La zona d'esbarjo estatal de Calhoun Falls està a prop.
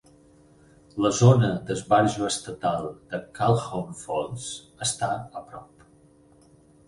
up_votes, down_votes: 6, 0